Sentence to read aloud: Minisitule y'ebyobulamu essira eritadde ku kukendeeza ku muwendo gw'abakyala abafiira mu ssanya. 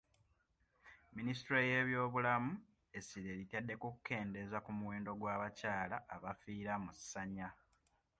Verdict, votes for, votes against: accepted, 2, 0